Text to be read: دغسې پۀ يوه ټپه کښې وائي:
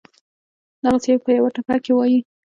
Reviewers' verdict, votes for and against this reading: accepted, 3, 0